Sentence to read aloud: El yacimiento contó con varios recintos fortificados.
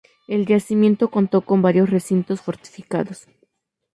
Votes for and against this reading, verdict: 2, 0, accepted